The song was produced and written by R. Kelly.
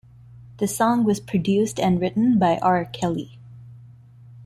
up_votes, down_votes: 0, 2